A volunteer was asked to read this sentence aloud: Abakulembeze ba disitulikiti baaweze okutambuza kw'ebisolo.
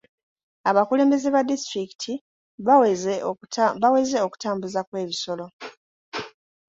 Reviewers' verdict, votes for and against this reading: rejected, 1, 2